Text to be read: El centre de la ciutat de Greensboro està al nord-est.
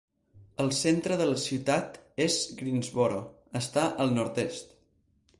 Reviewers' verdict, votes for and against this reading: rejected, 0, 6